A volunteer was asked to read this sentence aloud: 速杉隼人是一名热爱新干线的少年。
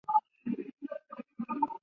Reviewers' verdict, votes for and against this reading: rejected, 0, 4